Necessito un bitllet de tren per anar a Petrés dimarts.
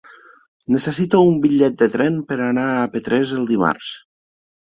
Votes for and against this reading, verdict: 1, 2, rejected